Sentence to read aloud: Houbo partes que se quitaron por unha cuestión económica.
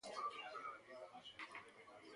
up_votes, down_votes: 0, 2